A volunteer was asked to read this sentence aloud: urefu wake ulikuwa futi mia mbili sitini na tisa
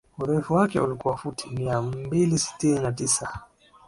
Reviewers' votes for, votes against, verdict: 2, 0, accepted